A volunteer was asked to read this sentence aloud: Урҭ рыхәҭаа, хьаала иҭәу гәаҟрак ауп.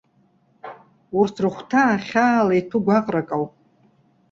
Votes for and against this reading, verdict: 2, 0, accepted